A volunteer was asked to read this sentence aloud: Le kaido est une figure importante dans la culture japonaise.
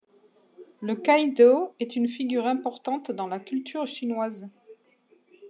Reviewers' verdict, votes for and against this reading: rejected, 0, 2